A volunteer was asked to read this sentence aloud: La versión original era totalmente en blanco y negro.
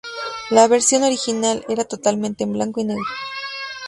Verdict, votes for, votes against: rejected, 1, 3